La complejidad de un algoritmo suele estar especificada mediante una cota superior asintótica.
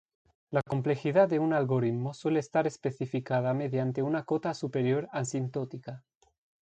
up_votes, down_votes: 2, 0